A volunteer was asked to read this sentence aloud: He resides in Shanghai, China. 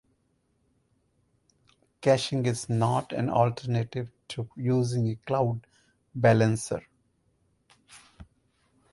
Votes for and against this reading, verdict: 0, 2, rejected